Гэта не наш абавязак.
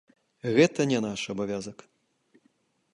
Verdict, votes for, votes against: accepted, 2, 0